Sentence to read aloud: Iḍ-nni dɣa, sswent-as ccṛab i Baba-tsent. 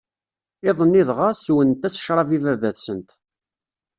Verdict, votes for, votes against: accepted, 2, 0